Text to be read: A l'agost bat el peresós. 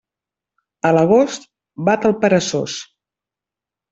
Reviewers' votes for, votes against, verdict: 1, 2, rejected